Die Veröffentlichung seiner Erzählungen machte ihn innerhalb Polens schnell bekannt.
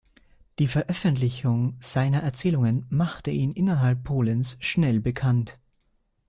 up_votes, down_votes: 2, 0